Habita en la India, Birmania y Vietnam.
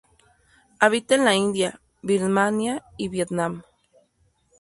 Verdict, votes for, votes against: accepted, 2, 0